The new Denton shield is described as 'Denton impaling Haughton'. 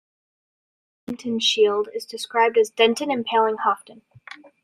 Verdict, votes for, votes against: rejected, 0, 2